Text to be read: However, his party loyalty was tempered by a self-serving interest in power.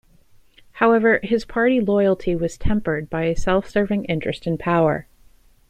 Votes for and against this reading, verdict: 2, 0, accepted